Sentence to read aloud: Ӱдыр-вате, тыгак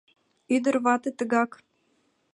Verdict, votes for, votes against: accepted, 2, 0